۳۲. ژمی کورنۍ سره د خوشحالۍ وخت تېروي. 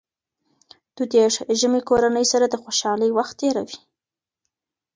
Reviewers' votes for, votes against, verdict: 0, 2, rejected